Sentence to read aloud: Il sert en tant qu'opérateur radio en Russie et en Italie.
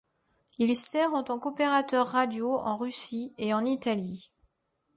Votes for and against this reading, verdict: 1, 2, rejected